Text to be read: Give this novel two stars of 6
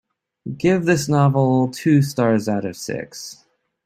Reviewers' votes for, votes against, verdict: 0, 2, rejected